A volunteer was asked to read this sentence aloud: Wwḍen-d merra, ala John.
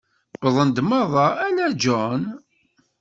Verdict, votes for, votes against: accepted, 2, 0